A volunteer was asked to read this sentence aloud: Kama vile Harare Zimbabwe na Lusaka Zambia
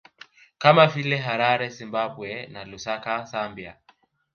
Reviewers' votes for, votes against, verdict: 2, 1, accepted